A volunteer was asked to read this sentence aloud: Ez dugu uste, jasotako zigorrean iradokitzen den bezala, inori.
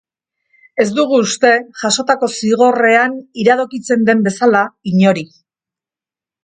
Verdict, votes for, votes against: accepted, 2, 0